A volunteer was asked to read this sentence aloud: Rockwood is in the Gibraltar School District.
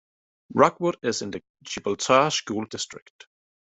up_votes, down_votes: 2, 0